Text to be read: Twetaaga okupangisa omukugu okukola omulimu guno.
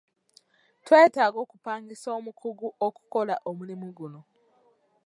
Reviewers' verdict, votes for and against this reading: accepted, 2, 0